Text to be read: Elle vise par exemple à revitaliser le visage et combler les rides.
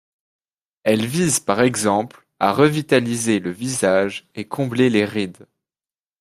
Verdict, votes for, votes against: accepted, 2, 0